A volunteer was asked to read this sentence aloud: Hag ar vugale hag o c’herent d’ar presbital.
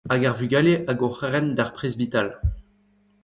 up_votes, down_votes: 1, 2